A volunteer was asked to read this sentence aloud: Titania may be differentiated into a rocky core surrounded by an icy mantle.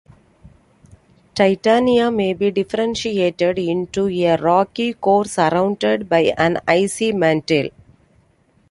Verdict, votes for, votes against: accepted, 2, 0